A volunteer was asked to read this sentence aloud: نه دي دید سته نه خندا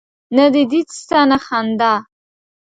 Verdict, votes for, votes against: accepted, 3, 0